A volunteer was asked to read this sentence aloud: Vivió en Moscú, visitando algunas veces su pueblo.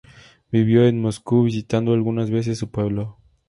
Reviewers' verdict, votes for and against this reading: accepted, 2, 0